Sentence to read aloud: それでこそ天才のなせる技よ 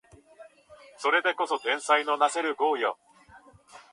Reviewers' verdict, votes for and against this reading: rejected, 0, 2